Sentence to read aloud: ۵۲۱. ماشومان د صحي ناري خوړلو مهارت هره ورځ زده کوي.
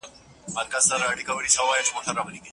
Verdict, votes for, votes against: rejected, 0, 2